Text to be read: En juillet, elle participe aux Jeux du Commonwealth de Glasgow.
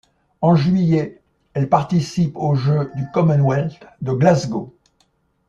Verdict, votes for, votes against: accepted, 2, 1